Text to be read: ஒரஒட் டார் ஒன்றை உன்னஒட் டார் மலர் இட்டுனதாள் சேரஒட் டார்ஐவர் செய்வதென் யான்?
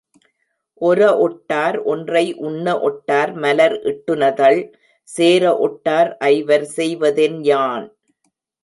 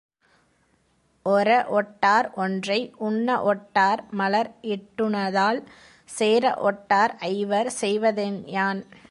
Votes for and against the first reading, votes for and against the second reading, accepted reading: 0, 2, 2, 0, second